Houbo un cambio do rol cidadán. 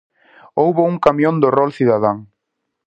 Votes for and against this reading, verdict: 0, 4, rejected